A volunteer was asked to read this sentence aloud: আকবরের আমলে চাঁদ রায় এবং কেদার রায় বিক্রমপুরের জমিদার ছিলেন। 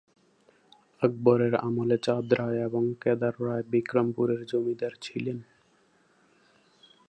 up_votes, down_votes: 2, 0